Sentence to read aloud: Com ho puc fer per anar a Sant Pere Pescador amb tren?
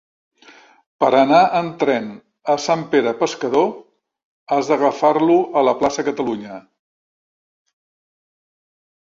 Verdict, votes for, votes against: rejected, 0, 2